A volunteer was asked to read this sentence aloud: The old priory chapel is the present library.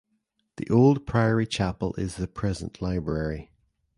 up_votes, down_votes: 2, 0